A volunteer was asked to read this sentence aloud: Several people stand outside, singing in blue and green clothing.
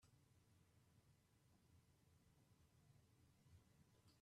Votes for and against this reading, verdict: 0, 4, rejected